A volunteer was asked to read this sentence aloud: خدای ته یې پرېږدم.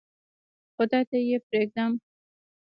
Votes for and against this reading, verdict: 2, 1, accepted